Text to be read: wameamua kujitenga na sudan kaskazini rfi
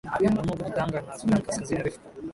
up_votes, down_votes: 0, 2